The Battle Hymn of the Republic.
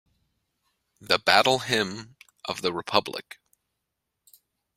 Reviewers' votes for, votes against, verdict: 2, 0, accepted